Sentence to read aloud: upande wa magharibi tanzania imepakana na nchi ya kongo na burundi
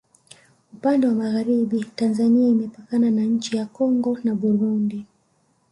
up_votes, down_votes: 2, 1